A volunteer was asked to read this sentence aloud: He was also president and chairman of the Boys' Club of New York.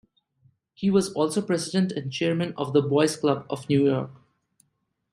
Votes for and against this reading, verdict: 2, 0, accepted